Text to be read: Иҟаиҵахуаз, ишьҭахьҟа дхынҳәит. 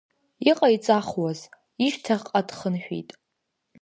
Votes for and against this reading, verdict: 2, 0, accepted